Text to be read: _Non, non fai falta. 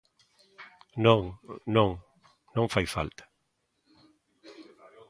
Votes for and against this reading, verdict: 0, 2, rejected